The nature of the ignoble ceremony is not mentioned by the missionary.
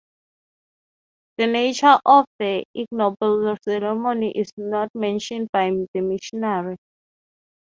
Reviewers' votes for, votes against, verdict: 3, 0, accepted